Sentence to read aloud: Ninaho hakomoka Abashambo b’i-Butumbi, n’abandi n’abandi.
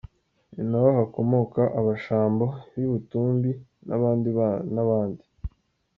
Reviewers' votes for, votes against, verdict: 0, 2, rejected